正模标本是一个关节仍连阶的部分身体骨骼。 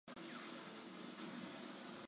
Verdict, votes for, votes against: rejected, 0, 2